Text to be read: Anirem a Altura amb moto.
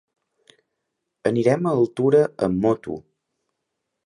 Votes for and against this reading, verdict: 3, 1, accepted